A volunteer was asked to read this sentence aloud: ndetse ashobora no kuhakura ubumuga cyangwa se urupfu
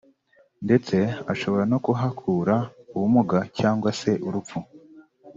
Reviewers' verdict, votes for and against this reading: rejected, 0, 2